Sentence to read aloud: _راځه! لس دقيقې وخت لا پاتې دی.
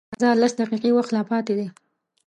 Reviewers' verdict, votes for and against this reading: rejected, 1, 2